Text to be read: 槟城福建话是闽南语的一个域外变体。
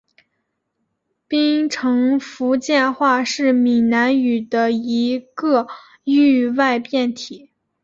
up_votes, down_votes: 2, 0